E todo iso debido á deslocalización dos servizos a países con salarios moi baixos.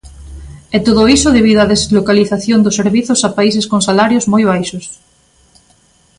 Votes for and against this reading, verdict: 2, 0, accepted